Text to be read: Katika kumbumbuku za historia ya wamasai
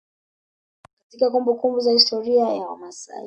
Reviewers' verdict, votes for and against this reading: accepted, 2, 0